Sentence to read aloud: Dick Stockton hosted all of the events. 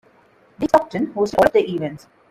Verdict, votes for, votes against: rejected, 0, 2